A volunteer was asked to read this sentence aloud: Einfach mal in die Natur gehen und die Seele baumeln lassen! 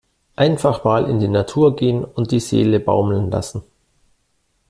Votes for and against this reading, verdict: 2, 0, accepted